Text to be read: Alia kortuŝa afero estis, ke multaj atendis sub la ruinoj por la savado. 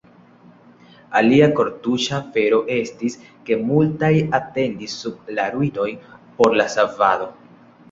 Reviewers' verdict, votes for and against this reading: accepted, 2, 0